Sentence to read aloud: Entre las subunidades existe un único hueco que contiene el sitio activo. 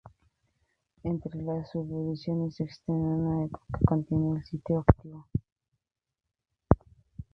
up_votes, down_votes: 0, 2